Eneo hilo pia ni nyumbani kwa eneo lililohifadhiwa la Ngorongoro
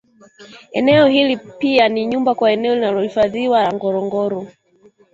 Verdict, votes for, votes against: rejected, 1, 2